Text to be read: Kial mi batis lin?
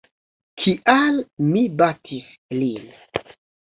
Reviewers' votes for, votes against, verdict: 0, 2, rejected